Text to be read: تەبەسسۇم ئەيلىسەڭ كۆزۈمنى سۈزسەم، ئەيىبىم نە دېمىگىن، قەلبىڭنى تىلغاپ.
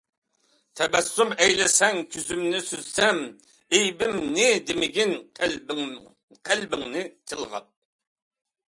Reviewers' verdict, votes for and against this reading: rejected, 0, 2